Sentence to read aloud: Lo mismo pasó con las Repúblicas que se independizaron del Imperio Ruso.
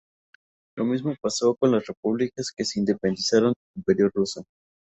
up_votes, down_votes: 0, 4